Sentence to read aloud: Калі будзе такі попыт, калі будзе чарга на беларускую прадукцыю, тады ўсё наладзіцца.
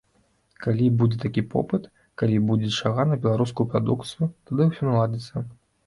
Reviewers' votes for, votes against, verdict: 2, 0, accepted